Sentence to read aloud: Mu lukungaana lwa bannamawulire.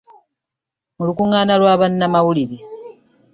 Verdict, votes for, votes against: accepted, 2, 0